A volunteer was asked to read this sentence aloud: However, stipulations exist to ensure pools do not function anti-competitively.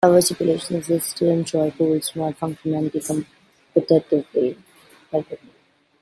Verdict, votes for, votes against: rejected, 0, 2